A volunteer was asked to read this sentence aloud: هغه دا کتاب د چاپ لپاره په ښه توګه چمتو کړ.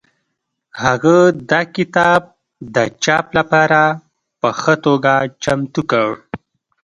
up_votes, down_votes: 2, 0